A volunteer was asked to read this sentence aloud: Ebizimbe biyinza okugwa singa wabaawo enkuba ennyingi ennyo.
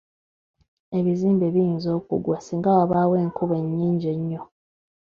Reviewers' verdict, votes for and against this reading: rejected, 1, 2